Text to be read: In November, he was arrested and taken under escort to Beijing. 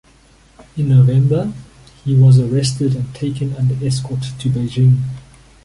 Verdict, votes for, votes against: accepted, 2, 0